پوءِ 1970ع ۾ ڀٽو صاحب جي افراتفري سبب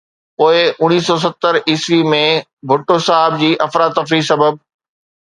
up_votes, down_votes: 0, 2